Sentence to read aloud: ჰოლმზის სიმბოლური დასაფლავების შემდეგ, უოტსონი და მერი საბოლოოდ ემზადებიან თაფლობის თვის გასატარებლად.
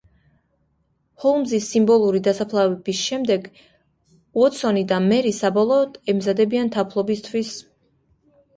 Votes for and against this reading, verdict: 0, 2, rejected